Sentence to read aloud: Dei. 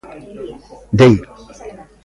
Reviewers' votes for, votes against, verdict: 1, 2, rejected